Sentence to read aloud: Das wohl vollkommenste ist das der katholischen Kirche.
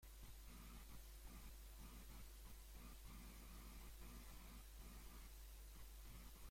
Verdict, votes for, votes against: rejected, 0, 2